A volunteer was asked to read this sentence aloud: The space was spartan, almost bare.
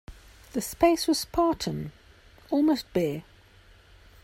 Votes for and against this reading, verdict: 2, 0, accepted